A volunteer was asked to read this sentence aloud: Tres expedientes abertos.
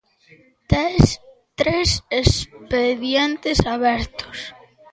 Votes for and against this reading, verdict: 0, 2, rejected